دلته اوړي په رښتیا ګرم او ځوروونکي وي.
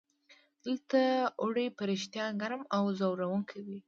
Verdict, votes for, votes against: accepted, 2, 0